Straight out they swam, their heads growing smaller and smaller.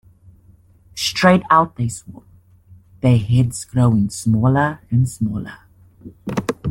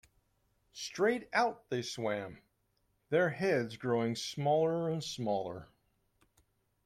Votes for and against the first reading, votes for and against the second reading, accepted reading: 1, 2, 2, 0, second